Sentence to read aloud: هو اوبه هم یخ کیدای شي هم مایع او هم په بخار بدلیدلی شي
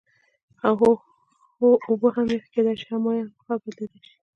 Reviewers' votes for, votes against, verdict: 1, 2, rejected